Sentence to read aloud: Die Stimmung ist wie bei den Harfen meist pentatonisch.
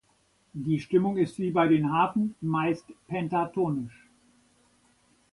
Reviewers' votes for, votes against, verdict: 2, 0, accepted